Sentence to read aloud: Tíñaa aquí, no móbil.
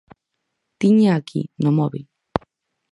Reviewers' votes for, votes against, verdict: 4, 0, accepted